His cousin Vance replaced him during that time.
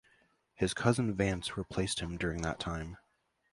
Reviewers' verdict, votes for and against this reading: accepted, 2, 0